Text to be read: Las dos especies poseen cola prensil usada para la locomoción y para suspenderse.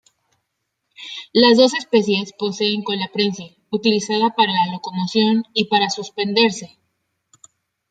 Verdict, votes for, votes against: rejected, 0, 2